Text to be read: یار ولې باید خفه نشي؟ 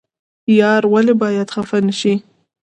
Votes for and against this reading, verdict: 2, 0, accepted